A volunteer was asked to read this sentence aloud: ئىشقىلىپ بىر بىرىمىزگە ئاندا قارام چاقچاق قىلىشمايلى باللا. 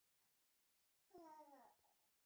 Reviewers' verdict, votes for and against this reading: rejected, 0, 2